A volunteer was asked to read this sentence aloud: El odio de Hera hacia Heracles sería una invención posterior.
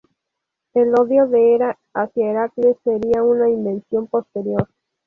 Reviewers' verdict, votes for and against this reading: rejected, 0, 2